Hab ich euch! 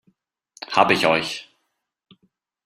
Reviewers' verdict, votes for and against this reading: rejected, 1, 2